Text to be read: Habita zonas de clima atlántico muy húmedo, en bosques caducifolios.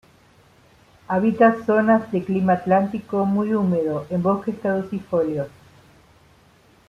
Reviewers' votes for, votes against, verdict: 2, 0, accepted